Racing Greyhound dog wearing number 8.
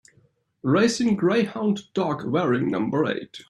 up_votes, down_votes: 0, 2